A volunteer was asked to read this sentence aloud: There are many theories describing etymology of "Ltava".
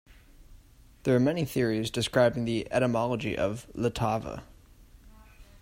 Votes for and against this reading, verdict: 2, 0, accepted